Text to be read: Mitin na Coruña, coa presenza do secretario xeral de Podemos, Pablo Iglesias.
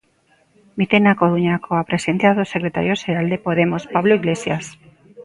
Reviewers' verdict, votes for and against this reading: rejected, 1, 2